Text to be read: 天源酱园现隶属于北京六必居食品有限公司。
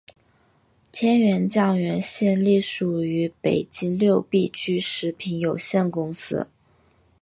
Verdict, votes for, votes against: accepted, 3, 0